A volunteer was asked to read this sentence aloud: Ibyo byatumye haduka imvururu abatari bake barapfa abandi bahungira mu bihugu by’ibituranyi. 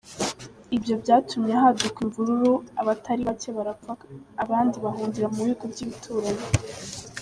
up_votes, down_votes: 2, 0